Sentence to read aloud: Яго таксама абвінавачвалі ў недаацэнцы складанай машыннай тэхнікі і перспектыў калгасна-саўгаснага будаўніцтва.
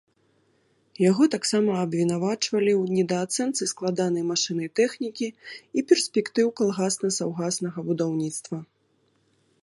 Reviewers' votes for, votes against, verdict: 2, 0, accepted